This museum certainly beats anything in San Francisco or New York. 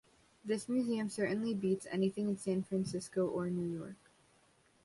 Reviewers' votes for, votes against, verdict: 1, 2, rejected